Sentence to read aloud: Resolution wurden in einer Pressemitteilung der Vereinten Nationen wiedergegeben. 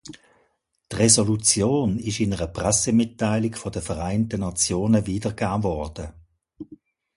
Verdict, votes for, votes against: rejected, 0, 2